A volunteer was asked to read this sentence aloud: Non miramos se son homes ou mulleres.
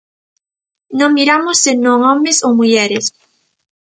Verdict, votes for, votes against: rejected, 0, 2